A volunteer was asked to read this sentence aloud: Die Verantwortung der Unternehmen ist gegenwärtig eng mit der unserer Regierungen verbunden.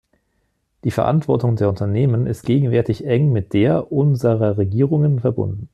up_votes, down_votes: 2, 0